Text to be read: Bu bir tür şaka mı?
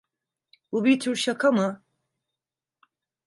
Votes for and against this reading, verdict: 2, 0, accepted